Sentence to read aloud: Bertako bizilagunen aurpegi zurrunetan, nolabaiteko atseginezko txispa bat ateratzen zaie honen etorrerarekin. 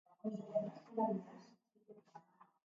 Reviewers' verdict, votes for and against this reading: rejected, 0, 2